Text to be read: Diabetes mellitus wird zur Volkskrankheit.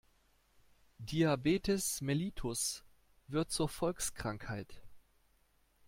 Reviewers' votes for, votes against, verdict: 2, 0, accepted